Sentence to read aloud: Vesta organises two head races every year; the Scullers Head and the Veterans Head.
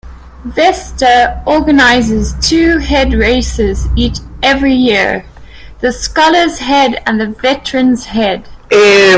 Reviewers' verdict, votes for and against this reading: rejected, 0, 2